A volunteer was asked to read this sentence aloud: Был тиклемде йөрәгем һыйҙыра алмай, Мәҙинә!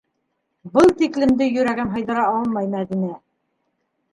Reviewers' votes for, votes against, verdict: 2, 0, accepted